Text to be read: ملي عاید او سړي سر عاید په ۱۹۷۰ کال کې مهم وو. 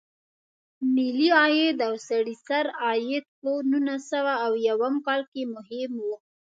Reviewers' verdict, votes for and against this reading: rejected, 0, 2